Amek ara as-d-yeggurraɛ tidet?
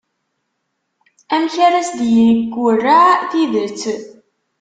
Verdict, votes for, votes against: rejected, 1, 2